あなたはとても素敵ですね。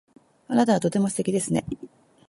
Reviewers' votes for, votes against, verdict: 1, 2, rejected